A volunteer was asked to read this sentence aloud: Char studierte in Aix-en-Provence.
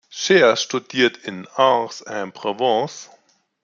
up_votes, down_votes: 1, 2